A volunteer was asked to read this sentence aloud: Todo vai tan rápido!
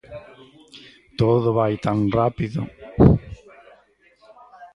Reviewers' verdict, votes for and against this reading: rejected, 0, 2